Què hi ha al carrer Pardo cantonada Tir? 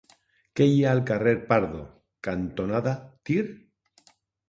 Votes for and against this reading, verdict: 2, 1, accepted